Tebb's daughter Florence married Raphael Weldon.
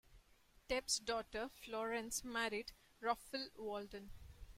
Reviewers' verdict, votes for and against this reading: rejected, 0, 2